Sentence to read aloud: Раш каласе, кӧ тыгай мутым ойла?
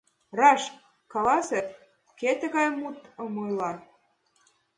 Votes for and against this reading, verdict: 2, 0, accepted